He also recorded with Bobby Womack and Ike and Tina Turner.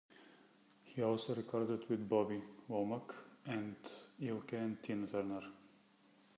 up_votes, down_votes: 0, 3